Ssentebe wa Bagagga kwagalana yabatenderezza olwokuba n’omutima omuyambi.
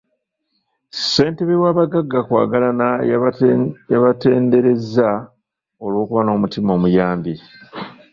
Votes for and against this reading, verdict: 0, 2, rejected